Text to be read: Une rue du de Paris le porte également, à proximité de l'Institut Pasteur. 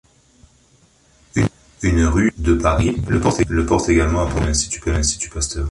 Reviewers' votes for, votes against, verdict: 0, 2, rejected